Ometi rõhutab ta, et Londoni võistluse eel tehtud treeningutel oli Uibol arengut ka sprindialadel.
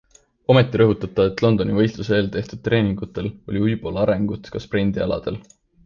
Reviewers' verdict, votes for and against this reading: accepted, 2, 0